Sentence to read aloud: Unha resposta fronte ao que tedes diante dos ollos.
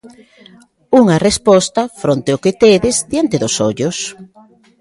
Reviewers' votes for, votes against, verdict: 2, 0, accepted